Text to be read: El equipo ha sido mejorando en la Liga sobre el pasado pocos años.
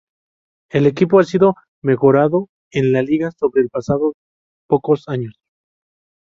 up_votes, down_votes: 2, 2